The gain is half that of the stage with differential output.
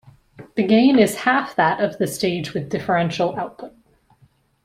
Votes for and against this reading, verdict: 2, 1, accepted